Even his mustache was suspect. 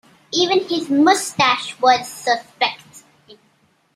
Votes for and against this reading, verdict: 2, 1, accepted